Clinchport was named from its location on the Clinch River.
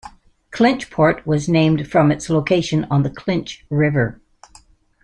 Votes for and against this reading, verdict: 2, 0, accepted